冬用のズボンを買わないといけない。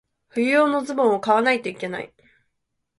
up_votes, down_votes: 3, 0